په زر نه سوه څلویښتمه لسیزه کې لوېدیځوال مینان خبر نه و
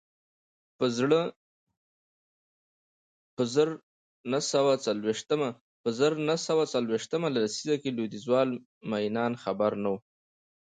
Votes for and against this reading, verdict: 1, 2, rejected